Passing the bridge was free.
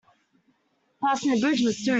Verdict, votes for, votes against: rejected, 0, 2